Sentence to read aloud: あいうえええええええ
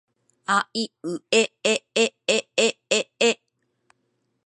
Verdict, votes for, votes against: accepted, 2, 0